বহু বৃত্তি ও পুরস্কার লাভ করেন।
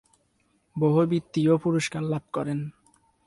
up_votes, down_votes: 0, 2